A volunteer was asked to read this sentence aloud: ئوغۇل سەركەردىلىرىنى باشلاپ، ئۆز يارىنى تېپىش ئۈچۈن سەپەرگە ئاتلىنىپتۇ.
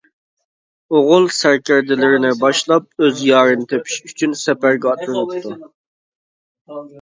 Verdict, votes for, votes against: accepted, 2, 0